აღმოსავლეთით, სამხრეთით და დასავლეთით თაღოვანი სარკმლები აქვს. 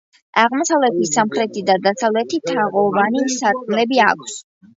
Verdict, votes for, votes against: accepted, 2, 0